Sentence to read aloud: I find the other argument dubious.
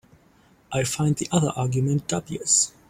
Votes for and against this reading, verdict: 2, 4, rejected